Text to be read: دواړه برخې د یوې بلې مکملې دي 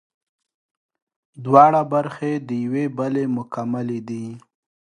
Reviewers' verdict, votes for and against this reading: accepted, 2, 0